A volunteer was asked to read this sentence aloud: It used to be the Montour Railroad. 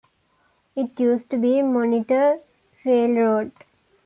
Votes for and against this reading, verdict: 2, 0, accepted